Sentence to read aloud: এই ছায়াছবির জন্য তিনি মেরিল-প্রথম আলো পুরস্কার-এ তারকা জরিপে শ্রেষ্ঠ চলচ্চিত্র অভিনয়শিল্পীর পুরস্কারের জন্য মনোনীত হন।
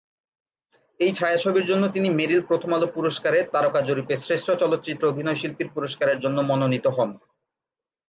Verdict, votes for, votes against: accepted, 3, 0